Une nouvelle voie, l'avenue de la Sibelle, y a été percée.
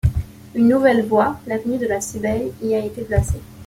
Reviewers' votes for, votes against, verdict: 1, 2, rejected